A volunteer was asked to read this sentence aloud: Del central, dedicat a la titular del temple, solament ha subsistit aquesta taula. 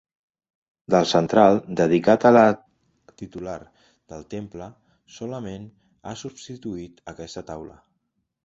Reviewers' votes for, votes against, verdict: 1, 2, rejected